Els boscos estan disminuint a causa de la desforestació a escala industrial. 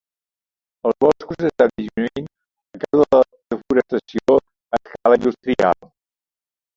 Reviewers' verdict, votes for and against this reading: rejected, 0, 2